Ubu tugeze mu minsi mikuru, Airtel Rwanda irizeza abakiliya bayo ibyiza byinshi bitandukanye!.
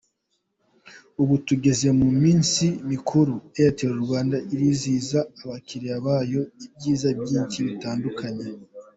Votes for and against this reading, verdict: 0, 3, rejected